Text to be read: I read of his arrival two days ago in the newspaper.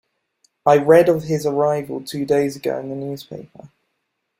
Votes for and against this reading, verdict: 2, 0, accepted